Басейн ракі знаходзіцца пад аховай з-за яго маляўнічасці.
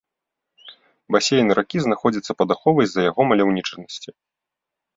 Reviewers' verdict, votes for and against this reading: rejected, 1, 2